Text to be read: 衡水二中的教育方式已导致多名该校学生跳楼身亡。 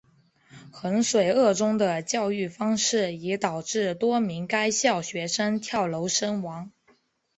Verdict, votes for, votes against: accepted, 2, 0